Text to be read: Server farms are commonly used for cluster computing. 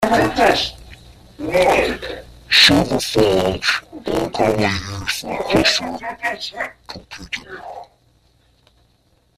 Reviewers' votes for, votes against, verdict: 0, 2, rejected